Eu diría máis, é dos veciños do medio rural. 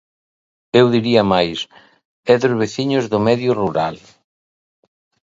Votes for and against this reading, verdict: 2, 0, accepted